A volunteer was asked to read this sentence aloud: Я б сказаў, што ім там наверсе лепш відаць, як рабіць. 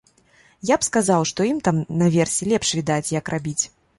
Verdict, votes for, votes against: accepted, 2, 0